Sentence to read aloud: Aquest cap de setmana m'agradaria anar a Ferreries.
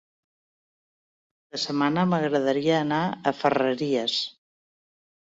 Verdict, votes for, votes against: rejected, 0, 2